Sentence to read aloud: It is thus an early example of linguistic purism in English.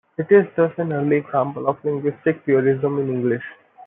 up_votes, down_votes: 2, 1